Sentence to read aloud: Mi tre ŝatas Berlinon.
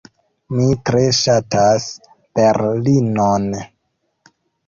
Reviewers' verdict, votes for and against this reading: accepted, 2, 0